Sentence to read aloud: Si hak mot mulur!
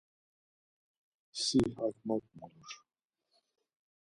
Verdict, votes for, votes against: accepted, 4, 0